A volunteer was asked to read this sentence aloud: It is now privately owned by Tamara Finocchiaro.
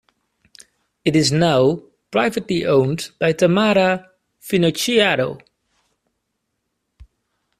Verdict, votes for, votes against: accepted, 2, 0